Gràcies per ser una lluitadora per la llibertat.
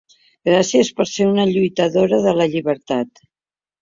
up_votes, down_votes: 0, 4